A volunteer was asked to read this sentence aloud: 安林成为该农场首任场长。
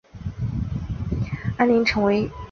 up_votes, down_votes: 1, 2